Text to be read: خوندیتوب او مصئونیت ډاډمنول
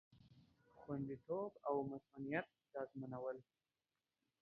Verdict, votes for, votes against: accepted, 2, 0